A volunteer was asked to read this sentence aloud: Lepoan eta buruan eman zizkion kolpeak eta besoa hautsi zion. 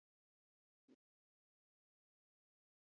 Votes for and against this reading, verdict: 0, 2, rejected